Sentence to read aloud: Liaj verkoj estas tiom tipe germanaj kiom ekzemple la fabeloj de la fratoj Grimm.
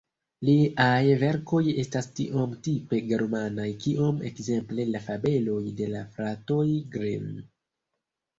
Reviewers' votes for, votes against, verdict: 0, 2, rejected